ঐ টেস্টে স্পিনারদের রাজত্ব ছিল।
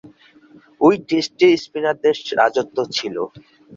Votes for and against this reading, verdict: 7, 3, accepted